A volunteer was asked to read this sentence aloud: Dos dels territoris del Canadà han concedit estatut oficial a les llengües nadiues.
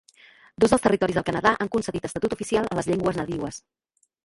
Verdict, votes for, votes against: accepted, 3, 0